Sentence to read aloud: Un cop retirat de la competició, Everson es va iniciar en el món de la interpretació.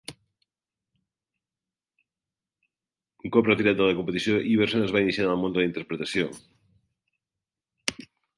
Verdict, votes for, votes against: rejected, 0, 2